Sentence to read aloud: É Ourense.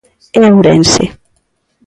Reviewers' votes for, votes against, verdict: 2, 0, accepted